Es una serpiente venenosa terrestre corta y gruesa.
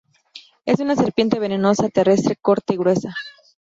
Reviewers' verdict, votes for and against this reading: accepted, 2, 0